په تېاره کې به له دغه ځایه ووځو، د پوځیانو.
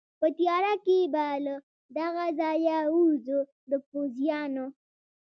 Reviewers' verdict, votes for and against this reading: rejected, 1, 2